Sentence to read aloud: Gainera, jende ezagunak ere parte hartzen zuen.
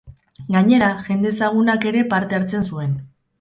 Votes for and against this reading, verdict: 2, 2, rejected